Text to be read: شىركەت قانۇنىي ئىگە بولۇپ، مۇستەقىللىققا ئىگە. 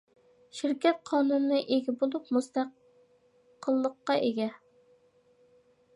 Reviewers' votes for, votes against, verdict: 1, 2, rejected